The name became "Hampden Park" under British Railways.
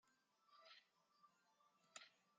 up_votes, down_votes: 0, 2